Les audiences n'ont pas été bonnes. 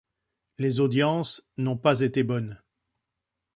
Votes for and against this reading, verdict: 2, 0, accepted